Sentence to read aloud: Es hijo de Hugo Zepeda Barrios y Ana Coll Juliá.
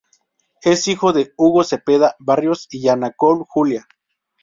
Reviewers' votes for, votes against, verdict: 2, 2, rejected